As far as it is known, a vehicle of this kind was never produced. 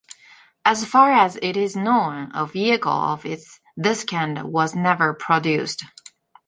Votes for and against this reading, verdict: 0, 3, rejected